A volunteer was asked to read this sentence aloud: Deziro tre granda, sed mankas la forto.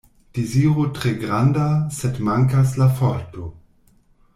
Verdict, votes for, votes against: rejected, 1, 2